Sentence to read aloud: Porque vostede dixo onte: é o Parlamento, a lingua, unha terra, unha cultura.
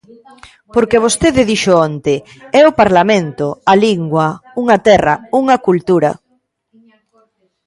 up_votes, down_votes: 0, 2